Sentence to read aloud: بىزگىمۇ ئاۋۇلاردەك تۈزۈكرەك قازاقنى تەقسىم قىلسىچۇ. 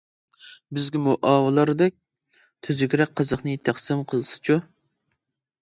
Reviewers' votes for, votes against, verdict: 1, 2, rejected